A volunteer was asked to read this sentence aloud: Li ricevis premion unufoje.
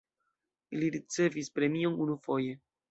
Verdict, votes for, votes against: rejected, 1, 2